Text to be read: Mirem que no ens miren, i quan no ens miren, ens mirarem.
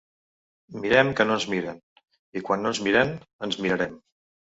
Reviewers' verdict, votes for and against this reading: rejected, 1, 2